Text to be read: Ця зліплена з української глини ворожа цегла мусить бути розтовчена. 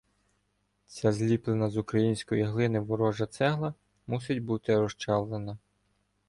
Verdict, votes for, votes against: rejected, 0, 2